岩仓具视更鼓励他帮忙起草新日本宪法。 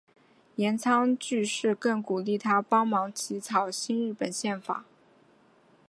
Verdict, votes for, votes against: accepted, 3, 0